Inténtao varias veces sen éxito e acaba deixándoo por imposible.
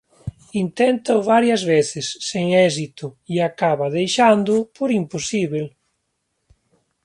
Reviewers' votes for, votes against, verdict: 2, 1, accepted